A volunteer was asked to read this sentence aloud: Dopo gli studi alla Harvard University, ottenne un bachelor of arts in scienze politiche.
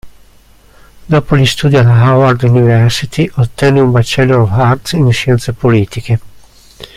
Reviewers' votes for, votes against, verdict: 0, 2, rejected